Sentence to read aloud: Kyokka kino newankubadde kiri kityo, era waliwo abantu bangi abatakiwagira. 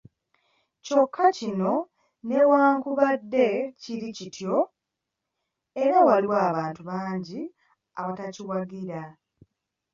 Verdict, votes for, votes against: accepted, 3, 1